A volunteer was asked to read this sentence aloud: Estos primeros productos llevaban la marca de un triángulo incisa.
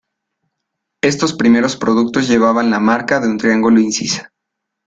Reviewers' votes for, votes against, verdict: 2, 1, accepted